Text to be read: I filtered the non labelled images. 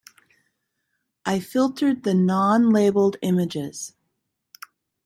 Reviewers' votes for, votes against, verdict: 2, 0, accepted